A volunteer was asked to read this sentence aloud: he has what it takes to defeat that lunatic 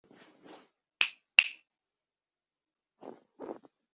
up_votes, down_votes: 0, 2